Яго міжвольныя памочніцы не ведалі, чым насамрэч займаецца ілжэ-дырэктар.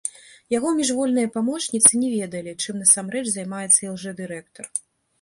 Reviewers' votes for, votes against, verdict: 2, 1, accepted